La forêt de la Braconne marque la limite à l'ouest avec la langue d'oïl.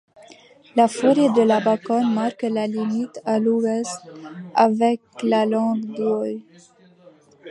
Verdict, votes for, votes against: rejected, 0, 3